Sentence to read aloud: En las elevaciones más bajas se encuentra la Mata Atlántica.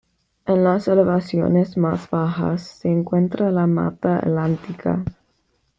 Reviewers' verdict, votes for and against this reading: rejected, 1, 2